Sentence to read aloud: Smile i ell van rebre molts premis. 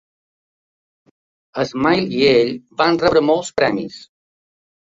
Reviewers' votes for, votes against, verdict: 3, 0, accepted